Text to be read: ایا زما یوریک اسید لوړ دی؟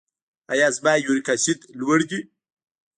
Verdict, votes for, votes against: accepted, 2, 1